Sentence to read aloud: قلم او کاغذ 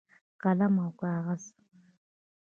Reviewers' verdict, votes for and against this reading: accepted, 2, 0